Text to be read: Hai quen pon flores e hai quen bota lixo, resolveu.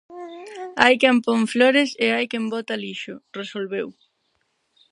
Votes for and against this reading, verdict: 2, 2, rejected